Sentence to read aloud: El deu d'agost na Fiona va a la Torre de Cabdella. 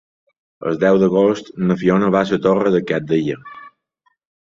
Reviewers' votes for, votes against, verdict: 1, 2, rejected